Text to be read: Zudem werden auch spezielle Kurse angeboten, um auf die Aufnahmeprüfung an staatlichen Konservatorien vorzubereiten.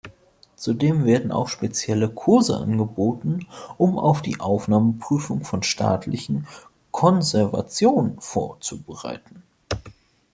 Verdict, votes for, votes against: rejected, 0, 2